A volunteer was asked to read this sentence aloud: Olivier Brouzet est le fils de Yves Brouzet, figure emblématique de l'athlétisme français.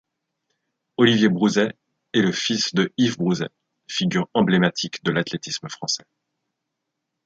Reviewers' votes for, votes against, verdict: 2, 0, accepted